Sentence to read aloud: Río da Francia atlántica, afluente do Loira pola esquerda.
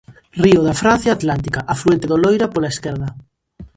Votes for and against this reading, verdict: 2, 0, accepted